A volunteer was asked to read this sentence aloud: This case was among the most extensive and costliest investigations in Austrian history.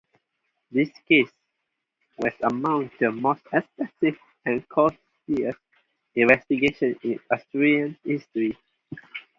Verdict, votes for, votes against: rejected, 0, 2